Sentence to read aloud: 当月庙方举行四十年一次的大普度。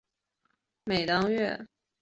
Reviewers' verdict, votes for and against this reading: rejected, 1, 2